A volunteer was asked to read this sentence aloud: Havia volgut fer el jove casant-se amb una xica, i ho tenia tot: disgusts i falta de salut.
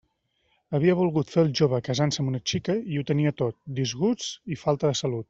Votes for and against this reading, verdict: 0, 2, rejected